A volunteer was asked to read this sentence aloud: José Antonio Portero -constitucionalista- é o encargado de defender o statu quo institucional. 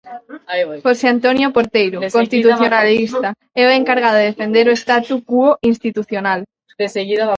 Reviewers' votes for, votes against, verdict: 0, 2, rejected